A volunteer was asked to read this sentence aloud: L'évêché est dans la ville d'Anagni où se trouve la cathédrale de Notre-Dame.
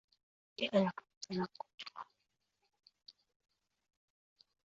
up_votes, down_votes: 0, 2